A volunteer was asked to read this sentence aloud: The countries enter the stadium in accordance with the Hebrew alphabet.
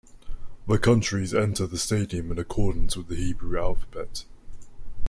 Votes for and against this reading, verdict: 2, 0, accepted